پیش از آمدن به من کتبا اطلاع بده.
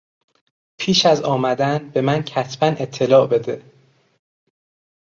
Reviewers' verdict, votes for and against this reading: accepted, 3, 0